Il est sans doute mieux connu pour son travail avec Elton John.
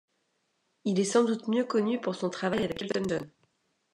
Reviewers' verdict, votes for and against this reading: rejected, 1, 2